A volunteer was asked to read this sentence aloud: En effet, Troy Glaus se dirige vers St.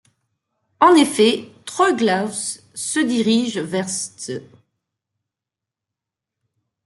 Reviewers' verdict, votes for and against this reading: rejected, 0, 2